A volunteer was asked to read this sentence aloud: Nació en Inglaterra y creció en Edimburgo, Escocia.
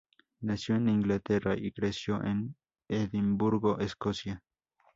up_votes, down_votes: 0, 2